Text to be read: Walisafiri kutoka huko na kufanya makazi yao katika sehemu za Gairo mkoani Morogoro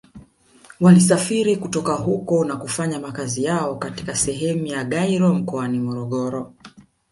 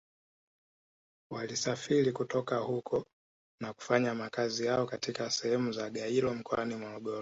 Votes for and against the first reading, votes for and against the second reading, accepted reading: 1, 2, 2, 1, second